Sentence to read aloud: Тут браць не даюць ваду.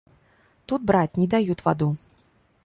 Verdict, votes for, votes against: rejected, 1, 2